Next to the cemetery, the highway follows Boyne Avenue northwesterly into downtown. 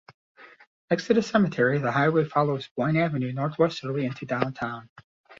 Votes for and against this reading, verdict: 2, 0, accepted